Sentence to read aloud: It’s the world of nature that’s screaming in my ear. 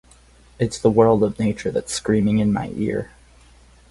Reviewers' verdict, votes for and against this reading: accepted, 6, 0